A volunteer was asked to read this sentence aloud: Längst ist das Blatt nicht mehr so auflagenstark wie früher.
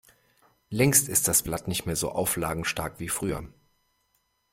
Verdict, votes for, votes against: accepted, 2, 0